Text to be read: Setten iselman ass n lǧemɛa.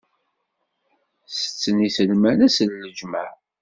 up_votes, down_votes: 2, 0